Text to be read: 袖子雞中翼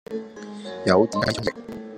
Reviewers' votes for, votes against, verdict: 2, 0, accepted